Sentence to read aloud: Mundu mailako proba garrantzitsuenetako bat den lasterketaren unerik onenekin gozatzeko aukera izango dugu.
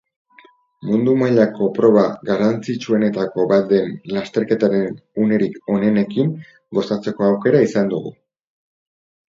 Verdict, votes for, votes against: rejected, 4, 6